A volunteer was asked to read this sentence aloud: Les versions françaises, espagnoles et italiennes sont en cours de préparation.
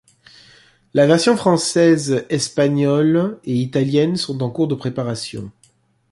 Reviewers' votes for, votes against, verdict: 0, 2, rejected